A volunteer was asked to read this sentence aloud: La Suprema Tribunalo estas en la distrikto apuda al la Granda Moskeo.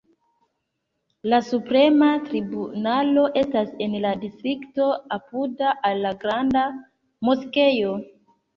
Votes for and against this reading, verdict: 3, 2, accepted